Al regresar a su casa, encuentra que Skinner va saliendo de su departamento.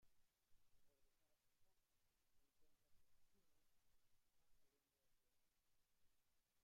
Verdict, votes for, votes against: rejected, 0, 2